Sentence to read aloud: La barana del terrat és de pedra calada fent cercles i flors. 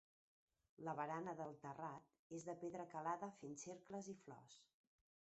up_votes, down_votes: 2, 0